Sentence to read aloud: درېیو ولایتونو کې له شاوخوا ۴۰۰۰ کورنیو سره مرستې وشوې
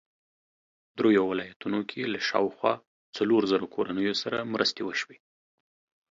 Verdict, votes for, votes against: rejected, 0, 2